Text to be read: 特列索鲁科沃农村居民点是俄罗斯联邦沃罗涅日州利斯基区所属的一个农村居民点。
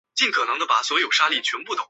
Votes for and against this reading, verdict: 0, 2, rejected